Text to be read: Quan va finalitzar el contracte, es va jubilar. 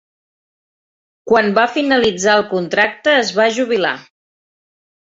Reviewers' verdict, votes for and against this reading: accepted, 3, 0